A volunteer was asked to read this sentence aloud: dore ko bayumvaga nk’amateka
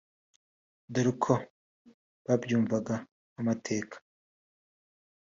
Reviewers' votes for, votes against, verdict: 1, 2, rejected